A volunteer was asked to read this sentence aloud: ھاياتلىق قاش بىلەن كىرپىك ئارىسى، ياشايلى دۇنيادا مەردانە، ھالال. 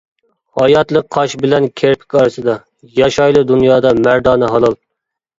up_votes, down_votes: 0, 2